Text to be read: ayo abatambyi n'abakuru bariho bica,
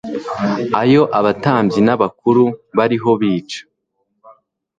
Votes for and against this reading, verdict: 3, 0, accepted